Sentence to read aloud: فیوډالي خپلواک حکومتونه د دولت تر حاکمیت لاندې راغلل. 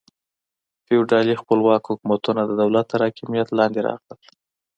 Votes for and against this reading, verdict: 2, 0, accepted